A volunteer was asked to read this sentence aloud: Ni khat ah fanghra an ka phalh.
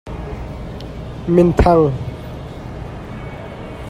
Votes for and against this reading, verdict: 0, 2, rejected